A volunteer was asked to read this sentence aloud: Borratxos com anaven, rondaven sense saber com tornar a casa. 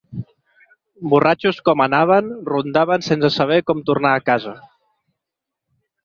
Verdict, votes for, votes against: accepted, 3, 0